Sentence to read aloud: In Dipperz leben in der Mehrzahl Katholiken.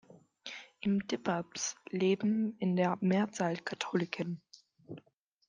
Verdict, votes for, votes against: rejected, 1, 2